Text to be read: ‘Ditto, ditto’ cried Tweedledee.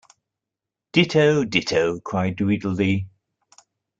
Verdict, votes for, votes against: accepted, 2, 0